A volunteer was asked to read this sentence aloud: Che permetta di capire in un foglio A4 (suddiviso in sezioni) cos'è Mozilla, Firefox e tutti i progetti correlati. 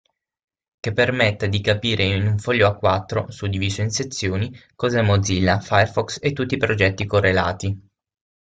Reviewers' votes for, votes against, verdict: 0, 2, rejected